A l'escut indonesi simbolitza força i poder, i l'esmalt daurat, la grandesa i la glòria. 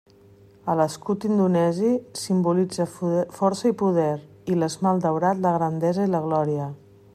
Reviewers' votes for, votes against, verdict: 1, 2, rejected